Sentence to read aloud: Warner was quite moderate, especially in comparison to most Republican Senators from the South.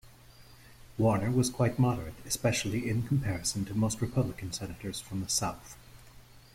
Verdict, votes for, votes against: accepted, 2, 0